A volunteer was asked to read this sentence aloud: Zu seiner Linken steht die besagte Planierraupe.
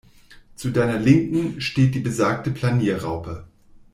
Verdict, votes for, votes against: rejected, 0, 2